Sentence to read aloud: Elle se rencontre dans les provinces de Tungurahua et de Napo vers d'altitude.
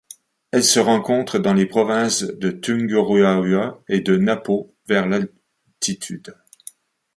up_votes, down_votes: 0, 2